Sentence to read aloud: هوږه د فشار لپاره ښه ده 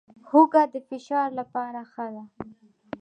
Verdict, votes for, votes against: accepted, 2, 0